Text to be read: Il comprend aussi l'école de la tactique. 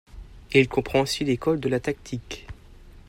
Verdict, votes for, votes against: accepted, 2, 0